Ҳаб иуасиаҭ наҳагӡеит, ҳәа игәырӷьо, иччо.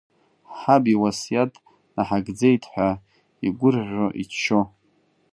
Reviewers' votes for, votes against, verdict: 2, 0, accepted